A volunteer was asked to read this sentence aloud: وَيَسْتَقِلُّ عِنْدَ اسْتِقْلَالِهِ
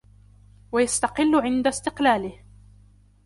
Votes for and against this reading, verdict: 2, 0, accepted